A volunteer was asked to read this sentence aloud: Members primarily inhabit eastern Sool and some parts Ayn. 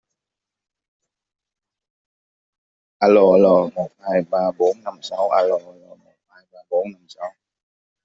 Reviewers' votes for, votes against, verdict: 0, 2, rejected